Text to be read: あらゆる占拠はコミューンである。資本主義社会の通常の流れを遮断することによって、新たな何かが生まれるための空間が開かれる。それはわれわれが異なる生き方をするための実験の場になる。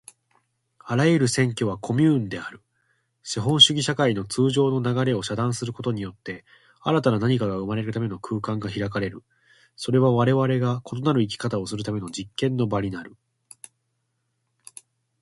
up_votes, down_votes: 2, 1